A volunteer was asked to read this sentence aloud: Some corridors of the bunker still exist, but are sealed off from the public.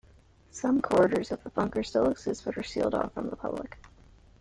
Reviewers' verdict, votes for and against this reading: accepted, 2, 1